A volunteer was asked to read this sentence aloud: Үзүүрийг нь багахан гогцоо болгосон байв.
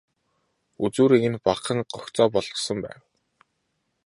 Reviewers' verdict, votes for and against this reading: accepted, 2, 0